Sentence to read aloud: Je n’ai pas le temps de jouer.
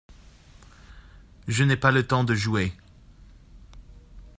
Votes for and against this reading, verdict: 2, 0, accepted